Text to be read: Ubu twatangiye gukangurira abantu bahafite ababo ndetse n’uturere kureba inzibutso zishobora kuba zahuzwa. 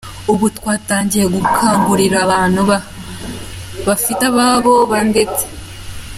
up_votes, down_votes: 0, 2